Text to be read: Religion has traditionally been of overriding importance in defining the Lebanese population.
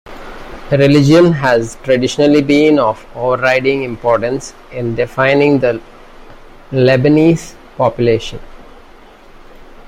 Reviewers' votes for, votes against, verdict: 1, 2, rejected